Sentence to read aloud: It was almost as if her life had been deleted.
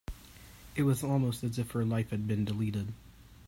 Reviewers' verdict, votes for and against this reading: accepted, 2, 0